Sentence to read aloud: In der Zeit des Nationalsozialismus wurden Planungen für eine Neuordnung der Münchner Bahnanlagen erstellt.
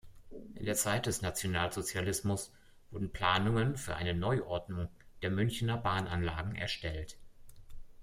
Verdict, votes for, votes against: rejected, 0, 2